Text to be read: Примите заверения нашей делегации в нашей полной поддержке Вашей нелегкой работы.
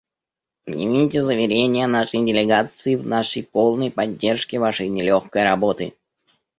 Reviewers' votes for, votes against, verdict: 0, 2, rejected